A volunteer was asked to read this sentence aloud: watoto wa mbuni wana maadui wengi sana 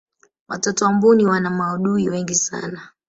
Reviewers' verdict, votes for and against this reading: rejected, 1, 2